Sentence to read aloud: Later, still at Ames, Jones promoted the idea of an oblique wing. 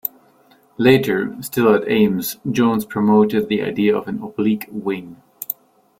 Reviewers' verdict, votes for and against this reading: accepted, 2, 0